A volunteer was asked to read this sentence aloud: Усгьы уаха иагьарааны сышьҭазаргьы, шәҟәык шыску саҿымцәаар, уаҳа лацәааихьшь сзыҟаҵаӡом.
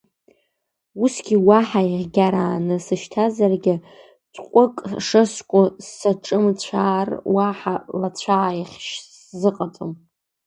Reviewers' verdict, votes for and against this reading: rejected, 1, 3